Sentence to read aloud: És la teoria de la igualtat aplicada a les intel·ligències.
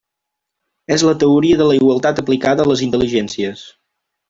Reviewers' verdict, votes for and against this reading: accepted, 3, 0